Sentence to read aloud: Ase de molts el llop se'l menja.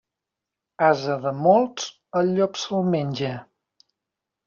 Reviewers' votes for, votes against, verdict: 2, 0, accepted